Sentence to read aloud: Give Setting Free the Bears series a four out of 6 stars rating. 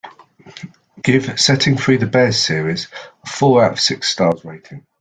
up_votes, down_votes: 0, 2